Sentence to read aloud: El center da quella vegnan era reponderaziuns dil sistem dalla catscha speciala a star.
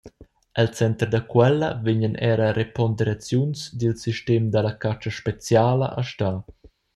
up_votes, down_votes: 0, 2